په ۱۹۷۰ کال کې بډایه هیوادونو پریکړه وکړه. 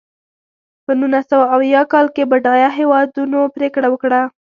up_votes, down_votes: 0, 2